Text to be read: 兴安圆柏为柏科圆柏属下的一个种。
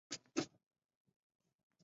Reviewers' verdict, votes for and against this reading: rejected, 0, 2